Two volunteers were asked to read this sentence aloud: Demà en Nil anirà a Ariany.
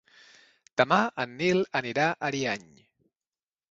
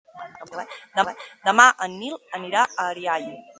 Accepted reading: first